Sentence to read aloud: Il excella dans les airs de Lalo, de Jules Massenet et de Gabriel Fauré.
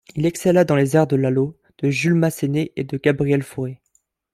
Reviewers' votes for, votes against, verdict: 0, 2, rejected